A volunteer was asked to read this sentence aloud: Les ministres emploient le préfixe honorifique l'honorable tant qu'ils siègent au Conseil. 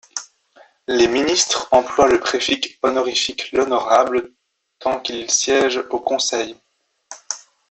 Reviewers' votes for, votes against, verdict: 0, 2, rejected